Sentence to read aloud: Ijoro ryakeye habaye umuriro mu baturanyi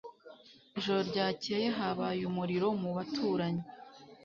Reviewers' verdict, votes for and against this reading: accepted, 2, 0